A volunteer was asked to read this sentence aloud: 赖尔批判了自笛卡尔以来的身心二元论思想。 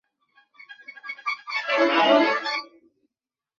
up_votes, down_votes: 0, 5